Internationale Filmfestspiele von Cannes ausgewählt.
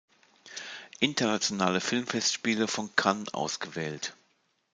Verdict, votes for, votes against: accepted, 2, 0